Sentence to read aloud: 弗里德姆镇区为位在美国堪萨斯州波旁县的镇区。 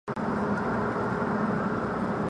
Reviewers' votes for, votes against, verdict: 1, 2, rejected